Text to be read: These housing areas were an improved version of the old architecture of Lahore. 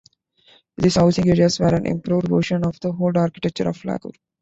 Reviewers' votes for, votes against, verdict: 0, 2, rejected